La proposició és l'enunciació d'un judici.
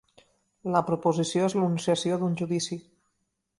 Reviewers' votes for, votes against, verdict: 1, 2, rejected